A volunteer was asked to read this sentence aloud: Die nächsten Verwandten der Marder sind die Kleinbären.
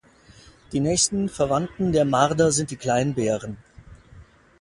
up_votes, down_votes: 2, 0